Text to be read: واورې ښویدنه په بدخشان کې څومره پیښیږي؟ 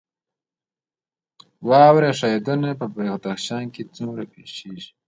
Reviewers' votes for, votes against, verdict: 2, 0, accepted